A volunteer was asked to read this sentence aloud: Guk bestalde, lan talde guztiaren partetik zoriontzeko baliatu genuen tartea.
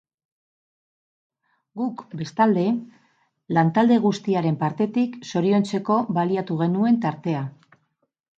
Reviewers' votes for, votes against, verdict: 6, 4, accepted